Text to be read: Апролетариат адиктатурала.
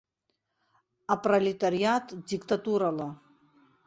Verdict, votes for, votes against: rejected, 1, 2